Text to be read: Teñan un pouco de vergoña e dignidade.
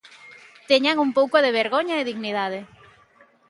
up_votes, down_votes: 2, 0